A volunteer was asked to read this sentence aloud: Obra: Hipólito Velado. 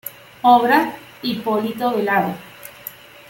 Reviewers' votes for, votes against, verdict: 1, 2, rejected